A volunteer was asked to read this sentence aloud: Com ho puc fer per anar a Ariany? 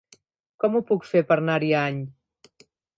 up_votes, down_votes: 0, 2